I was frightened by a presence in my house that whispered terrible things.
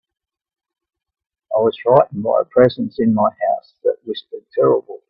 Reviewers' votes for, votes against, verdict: 0, 2, rejected